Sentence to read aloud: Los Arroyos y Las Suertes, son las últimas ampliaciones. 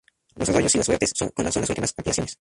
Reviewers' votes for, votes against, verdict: 0, 2, rejected